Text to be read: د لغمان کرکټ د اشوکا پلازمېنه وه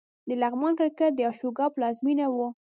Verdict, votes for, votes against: rejected, 1, 2